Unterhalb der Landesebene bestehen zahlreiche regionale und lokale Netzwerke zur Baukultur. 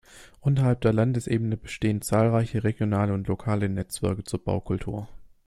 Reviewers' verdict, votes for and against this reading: accepted, 2, 0